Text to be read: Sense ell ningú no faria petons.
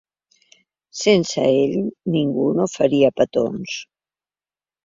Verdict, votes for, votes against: accepted, 3, 0